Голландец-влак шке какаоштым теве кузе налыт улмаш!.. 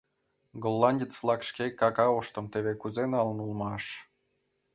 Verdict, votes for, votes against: rejected, 1, 2